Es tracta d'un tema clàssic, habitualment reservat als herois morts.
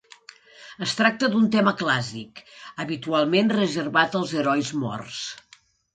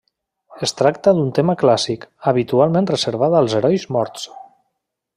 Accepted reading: first